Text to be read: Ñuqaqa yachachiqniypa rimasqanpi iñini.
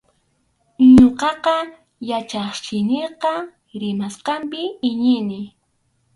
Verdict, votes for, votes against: rejected, 0, 2